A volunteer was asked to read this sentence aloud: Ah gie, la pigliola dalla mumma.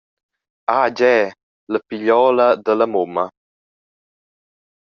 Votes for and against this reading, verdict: 2, 0, accepted